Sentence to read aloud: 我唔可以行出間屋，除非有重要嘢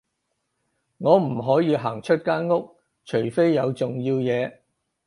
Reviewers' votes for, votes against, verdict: 4, 0, accepted